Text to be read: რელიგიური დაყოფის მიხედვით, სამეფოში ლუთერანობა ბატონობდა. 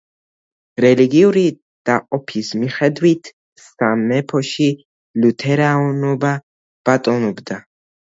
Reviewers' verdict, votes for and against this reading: accepted, 2, 1